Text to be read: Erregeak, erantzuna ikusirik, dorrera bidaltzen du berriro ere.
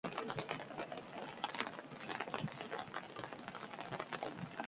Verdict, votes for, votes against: rejected, 0, 2